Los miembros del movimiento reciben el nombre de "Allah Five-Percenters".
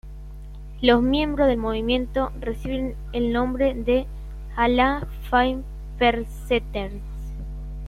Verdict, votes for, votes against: rejected, 1, 2